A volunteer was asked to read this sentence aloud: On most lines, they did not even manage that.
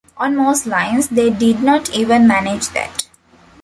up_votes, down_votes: 2, 0